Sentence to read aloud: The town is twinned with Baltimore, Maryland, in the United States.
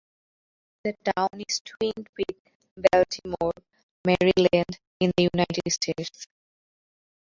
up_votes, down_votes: 0, 2